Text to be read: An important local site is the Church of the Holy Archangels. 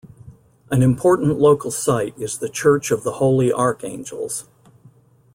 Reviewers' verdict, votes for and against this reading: accepted, 2, 0